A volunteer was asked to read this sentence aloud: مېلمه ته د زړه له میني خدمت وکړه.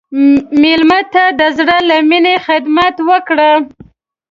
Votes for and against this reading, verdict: 2, 1, accepted